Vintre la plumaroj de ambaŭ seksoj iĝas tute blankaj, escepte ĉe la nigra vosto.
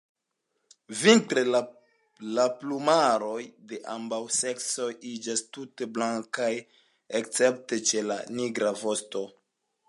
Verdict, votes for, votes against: accepted, 2, 1